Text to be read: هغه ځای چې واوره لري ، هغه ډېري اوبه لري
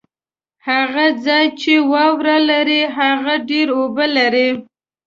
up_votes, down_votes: 1, 2